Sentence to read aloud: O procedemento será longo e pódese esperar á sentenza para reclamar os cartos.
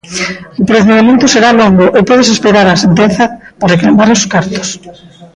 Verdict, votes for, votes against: rejected, 0, 2